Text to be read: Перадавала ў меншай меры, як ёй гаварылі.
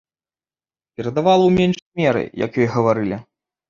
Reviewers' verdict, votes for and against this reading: rejected, 0, 2